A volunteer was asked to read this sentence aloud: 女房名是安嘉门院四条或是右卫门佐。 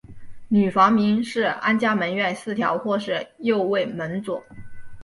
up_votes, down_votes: 2, 0